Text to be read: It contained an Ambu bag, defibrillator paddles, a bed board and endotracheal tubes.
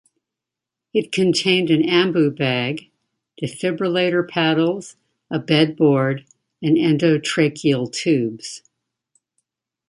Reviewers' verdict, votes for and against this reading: accepted, 2, 0